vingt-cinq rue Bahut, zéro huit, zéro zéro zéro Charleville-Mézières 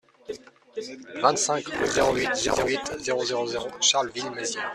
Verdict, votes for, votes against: rejected, 0, 2